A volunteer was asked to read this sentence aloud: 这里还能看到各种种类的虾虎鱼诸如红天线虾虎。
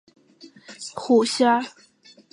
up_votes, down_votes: 0, 4